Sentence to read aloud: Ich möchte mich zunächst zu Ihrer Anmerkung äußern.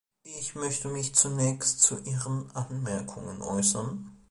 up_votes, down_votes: 0, 2